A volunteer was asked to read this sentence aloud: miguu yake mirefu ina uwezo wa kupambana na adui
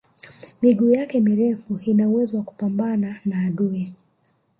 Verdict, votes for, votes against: accepted, 2, 1